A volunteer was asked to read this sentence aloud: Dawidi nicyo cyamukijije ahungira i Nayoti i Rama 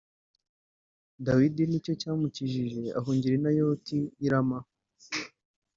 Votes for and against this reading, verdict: 2, 0, accepted